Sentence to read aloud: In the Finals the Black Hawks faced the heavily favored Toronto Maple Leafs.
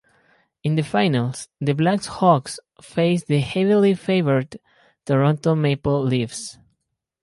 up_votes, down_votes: 0, 4